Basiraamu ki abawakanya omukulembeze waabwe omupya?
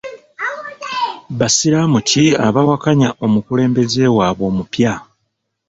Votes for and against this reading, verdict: 1, 2, rejected